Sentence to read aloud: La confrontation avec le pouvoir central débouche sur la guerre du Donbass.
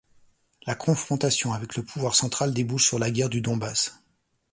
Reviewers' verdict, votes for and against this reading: accepted, 2, 0